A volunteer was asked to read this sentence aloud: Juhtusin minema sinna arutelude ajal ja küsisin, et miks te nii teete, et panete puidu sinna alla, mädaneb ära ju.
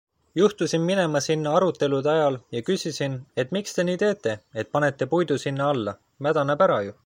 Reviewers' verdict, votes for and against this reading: accepted, 2, 0